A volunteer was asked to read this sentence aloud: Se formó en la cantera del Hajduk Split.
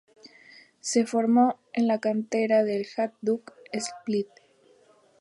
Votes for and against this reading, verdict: 2, 0, accepted